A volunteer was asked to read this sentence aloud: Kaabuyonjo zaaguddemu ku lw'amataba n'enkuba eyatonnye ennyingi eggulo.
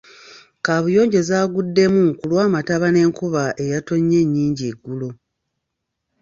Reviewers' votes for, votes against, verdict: 1, 2, rejected